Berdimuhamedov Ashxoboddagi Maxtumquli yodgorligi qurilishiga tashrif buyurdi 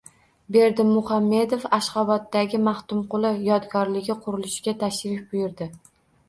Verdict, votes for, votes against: accepted, 2, 0